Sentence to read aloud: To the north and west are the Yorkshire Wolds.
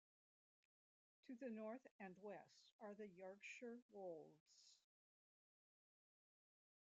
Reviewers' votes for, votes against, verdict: 1, 2, rejected